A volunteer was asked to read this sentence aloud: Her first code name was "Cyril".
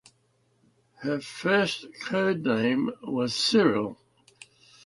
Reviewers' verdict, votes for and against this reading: accepted, 2, 0